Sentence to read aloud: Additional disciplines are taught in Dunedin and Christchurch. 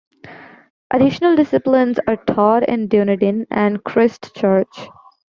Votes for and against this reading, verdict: 2, 1, accepted